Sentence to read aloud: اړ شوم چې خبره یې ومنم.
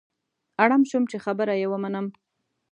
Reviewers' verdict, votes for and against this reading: rejected, 1, 2